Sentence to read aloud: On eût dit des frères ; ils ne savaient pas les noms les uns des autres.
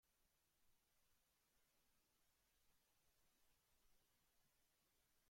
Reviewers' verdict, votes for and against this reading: rejected, 0, 2